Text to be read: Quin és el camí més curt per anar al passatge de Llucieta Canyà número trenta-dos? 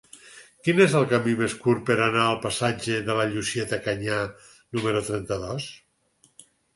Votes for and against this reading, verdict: 2, 4, rejected